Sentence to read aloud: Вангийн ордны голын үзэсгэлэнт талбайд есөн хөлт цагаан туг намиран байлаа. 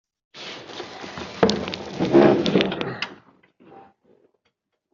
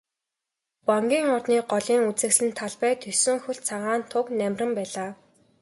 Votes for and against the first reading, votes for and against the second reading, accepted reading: 0, 2, 2, 0, second